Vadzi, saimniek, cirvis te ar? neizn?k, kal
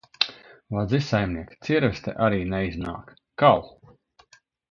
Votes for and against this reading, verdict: 0, 2, rejected